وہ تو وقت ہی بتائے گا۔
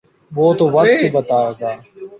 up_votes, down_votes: 1, 2